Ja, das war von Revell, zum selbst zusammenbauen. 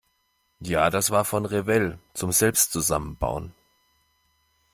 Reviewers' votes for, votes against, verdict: 2, 0, accepted